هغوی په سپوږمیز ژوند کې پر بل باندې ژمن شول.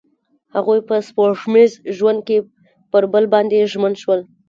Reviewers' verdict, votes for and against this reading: accepted, 2, 0